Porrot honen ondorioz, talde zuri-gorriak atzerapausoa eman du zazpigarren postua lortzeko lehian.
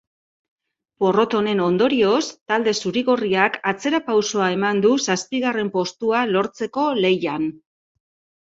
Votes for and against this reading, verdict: 2, 0, accepted